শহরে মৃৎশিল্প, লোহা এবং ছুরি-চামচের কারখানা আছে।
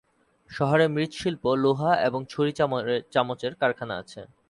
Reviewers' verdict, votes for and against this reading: rejected, 1, 2